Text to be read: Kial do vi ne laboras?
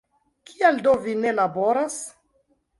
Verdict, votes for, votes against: rejected, 0, 2